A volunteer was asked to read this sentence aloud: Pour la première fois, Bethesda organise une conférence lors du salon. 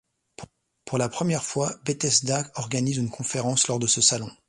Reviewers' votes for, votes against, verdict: 0, 2, rejected